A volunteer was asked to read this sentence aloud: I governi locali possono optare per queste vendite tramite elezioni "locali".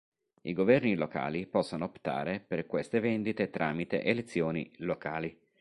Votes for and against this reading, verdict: 2, 0, accepted